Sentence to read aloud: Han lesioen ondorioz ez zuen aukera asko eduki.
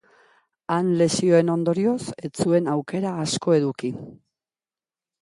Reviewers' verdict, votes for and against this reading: accepted, 3, 0